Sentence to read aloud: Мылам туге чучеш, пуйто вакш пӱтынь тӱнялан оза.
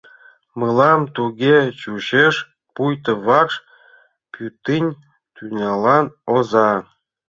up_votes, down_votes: 0, 2